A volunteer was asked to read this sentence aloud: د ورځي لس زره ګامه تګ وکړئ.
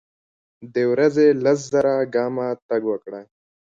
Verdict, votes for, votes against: rejected, 1, 2